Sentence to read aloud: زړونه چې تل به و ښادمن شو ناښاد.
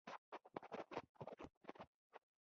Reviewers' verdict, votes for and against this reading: rejected, 1, 2